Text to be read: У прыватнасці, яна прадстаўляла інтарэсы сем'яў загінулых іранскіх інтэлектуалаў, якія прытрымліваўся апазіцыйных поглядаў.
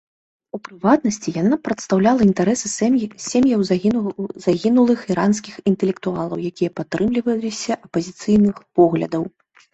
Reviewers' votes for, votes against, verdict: 1, 2, rejected